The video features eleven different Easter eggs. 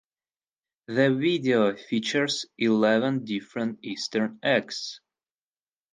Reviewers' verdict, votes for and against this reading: accepted, 4, 0